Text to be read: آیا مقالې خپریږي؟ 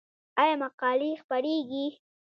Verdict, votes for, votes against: rejected, 1, 2